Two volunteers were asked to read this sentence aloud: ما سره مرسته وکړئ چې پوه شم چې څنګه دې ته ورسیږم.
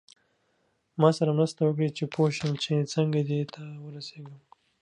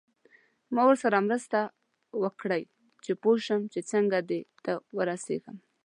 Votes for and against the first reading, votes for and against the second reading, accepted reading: 2, 0, 0, 2, first